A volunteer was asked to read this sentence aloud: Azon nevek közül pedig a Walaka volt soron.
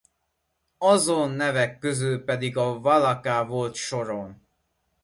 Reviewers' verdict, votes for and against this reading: accepted, 2, 0